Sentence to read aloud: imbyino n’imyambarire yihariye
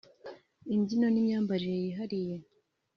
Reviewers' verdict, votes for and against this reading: accepted, 2, 0